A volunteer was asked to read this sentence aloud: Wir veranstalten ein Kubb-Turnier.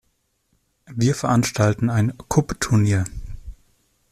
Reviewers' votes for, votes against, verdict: 2, 0, accepted